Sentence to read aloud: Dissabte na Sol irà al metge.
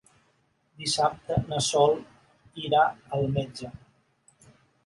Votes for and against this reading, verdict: 4, 0, accepted